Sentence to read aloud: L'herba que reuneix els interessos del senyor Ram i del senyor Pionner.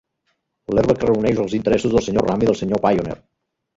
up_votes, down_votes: 1, 2